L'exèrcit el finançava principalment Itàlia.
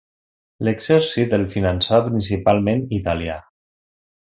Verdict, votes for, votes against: accepted, 2, 0